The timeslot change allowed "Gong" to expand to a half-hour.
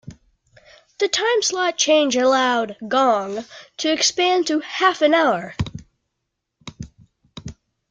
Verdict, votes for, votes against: rejected, 1, 2